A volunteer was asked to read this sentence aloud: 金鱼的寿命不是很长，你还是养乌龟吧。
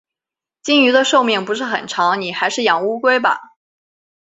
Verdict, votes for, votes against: accepted, 2, 0